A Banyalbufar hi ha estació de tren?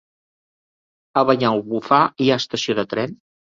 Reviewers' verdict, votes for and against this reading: accepted, 3, 0